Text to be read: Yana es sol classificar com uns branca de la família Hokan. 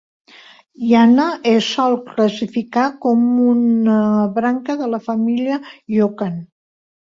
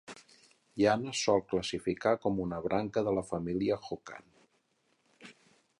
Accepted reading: second